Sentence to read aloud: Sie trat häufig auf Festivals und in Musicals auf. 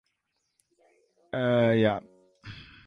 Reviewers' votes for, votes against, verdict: 0, 2, rejected